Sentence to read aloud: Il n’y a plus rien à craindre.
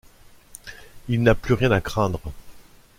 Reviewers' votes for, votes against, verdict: 0, 2, rejected